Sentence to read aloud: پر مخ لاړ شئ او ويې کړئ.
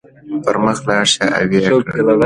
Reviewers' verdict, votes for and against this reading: accepted, 2, 0